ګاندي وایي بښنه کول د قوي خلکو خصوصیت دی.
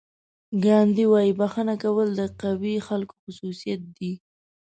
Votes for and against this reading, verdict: 2, 0, accepted